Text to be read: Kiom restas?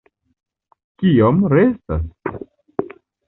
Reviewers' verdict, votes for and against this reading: accepted, 2, 0